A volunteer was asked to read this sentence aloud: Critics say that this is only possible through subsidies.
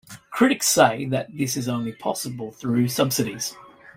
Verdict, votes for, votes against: accepted, 2, 0